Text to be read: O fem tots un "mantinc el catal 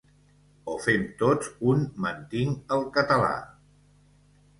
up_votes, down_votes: 1, 2